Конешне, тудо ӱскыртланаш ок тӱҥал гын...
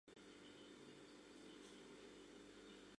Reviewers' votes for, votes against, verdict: 1, 2, rejected